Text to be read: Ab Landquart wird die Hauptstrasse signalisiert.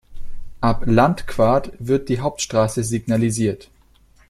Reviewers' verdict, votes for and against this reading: accepted, 2, 0